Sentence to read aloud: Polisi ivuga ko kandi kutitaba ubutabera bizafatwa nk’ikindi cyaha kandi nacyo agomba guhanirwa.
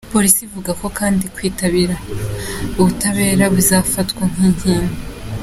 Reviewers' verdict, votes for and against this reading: rejected, 0, 3